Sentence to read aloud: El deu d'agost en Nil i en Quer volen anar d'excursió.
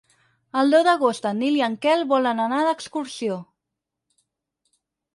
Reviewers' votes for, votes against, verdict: 2, 6, rejected